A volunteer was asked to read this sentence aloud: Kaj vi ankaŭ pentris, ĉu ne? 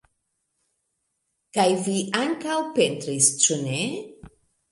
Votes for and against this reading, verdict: 1, 2, rejected